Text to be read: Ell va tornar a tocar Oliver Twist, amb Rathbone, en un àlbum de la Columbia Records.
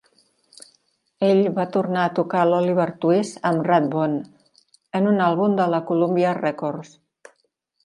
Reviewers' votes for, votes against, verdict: 3, 4, rejected